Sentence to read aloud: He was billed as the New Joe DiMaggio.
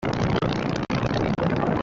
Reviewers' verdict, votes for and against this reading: rejected, 0, 2